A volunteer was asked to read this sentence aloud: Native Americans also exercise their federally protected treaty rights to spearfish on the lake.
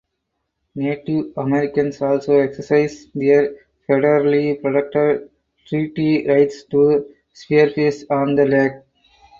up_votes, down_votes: 2, 4